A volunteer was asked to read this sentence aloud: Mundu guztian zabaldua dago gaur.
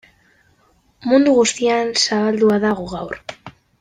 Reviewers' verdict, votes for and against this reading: rejected, 1, 2